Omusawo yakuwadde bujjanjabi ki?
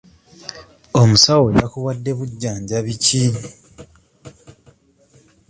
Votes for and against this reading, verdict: 2, 1, accepted